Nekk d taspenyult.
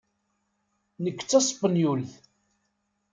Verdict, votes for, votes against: accepted, 2, 0